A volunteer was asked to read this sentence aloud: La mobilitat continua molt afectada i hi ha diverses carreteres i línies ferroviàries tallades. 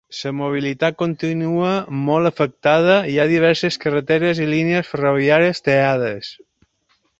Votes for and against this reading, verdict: 2, 0, accepted